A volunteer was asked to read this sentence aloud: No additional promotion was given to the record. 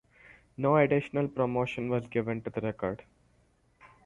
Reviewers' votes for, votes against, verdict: 4, 0, accepted